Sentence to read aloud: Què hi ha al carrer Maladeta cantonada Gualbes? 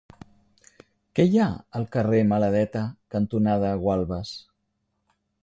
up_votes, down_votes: 3, 0